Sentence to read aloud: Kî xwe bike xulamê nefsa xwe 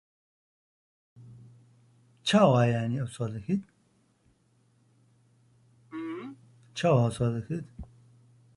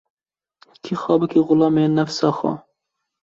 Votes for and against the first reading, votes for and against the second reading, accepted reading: 0, 2, 2, 0, second